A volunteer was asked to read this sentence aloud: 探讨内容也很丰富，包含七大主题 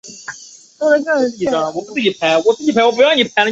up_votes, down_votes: 0, 3